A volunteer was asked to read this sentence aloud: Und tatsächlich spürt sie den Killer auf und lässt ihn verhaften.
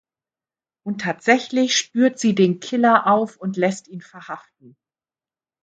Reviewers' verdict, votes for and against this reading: accepted, 2, 0